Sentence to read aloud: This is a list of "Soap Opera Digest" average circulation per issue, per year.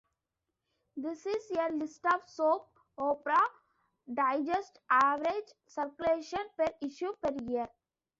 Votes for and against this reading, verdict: 0, 2, rejected